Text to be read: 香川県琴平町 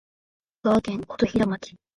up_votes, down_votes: 4, 1